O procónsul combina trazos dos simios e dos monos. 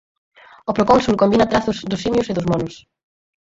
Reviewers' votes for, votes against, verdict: 4, 2, accepted